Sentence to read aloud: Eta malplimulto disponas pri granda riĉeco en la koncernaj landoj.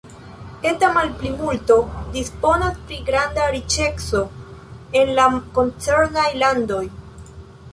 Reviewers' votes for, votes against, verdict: 0, 2, rejected